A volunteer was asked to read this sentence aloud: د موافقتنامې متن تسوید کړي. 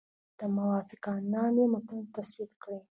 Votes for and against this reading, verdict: 2, 0, accepted